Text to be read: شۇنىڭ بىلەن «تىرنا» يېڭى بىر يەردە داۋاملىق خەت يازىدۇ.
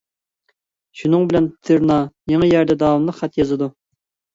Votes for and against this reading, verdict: 0, 2, rejected